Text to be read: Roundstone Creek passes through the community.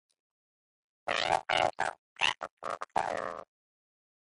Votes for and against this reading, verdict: 0, 3, rejected